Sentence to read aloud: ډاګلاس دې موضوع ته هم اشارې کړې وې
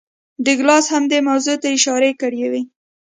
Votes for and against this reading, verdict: 2, 0, accepted